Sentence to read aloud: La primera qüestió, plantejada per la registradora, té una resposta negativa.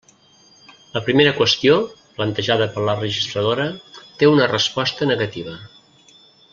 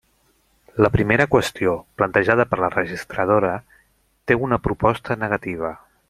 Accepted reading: first